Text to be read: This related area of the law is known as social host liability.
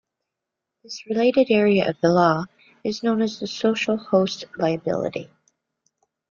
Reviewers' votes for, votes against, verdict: 2, 1, accepted